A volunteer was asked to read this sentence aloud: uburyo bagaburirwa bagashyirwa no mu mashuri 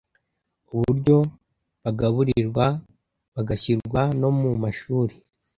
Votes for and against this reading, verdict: 2, 0, accepted